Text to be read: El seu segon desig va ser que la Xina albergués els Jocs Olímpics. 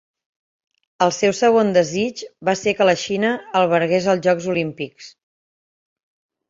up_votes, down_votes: 3, 0